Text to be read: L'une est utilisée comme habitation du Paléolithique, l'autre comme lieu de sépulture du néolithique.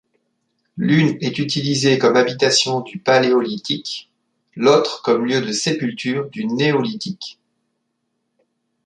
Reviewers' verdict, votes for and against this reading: accepted, 2, 0